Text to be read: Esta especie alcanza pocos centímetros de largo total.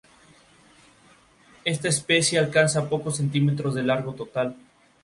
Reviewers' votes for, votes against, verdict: 2, 0, accepted